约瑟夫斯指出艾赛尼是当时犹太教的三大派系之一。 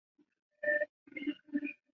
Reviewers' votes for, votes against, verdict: 0, 2, rejected